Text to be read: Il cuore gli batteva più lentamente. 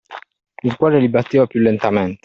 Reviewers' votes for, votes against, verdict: 1, 2, rejected